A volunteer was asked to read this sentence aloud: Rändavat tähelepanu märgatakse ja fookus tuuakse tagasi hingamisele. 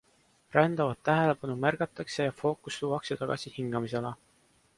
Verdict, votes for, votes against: accepted, 2, 0